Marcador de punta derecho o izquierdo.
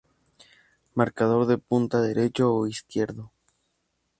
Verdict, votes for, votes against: accepted, 2, 0